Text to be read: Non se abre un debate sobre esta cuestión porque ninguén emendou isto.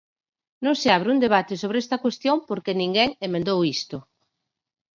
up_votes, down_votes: 4, 0